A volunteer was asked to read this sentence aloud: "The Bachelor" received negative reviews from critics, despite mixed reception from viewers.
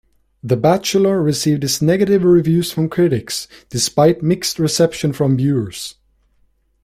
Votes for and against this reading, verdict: 1, 2, rejected